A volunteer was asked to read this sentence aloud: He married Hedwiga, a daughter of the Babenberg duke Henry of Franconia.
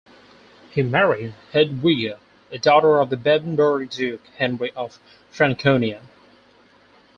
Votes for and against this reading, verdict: 4, 0, accepted